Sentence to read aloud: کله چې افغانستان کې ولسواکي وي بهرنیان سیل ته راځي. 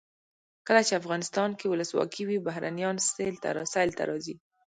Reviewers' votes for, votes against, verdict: 1, 2, rejected